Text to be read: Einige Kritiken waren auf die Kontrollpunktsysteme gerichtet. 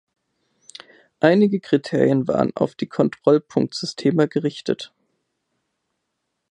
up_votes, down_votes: 0, 2